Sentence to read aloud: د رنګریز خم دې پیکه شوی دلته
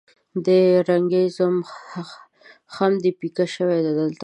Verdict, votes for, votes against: rejected, 1, 2